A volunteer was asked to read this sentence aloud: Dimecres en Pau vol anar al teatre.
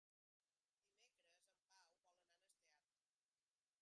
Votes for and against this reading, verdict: 0, 4, rejected